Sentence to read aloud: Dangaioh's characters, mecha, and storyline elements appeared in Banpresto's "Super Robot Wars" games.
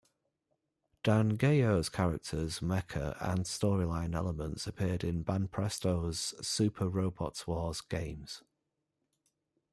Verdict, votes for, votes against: rejected, 1, 2